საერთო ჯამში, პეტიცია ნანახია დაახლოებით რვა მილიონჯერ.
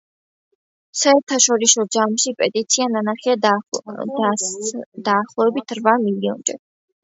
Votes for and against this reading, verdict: 0, 2, rejected